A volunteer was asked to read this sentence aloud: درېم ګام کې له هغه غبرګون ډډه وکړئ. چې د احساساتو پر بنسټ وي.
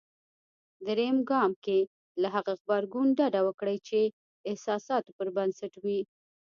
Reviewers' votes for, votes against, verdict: 1, 2, rejected